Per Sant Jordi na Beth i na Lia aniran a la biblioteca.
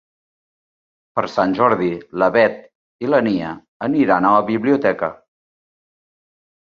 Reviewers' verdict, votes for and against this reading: rejected, 0, 2